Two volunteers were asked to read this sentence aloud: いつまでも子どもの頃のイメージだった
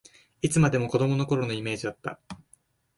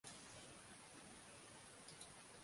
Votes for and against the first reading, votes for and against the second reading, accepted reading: 2, 0, 0, 2, first